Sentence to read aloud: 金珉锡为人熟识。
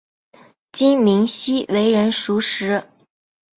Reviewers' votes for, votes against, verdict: 4, 0, accepted